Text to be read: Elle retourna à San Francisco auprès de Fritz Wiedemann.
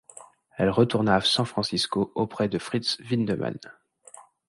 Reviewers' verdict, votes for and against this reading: rejected, 1, 2